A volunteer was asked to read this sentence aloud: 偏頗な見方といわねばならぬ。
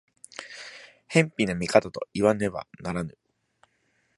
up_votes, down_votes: 2, 0